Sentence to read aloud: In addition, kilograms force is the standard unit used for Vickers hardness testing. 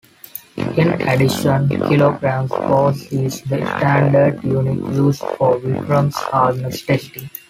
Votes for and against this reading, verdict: 0, 2, rejected